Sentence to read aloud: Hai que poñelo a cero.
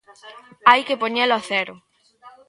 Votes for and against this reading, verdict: 1, 2, rejected